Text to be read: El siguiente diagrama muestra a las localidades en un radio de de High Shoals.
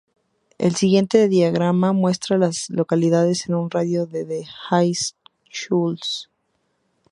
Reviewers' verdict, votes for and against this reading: rejected, 0, 2